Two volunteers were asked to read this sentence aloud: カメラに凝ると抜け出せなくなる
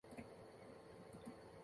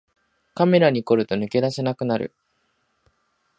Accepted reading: second